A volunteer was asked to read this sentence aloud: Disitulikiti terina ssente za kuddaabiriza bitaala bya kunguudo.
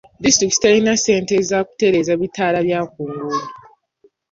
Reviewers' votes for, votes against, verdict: 2, 3, rejected